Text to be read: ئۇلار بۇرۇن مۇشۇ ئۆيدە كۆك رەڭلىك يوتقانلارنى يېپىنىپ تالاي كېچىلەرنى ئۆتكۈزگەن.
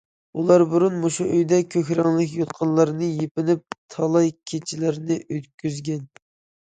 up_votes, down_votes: 2, 0